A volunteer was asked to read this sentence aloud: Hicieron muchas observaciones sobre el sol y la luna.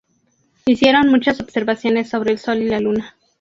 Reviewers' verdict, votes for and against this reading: accepted, 2, 0